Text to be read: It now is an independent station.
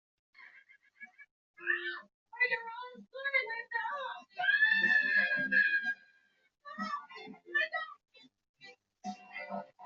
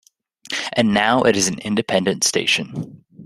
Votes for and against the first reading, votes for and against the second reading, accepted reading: 0, 2, 2, 1, second